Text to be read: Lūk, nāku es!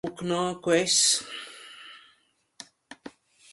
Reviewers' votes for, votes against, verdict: 0, 2, rejected